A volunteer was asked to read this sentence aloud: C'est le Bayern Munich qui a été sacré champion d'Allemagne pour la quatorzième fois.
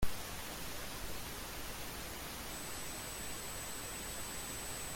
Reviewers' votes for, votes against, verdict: 0, 2, rejected